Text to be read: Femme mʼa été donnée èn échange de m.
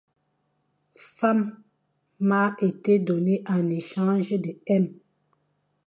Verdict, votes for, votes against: rejected, 0, 2